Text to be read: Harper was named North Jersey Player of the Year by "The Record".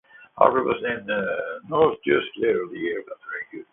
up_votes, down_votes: 0, 2